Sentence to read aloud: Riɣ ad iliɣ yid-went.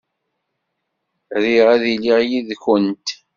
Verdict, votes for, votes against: rejected, 1, 2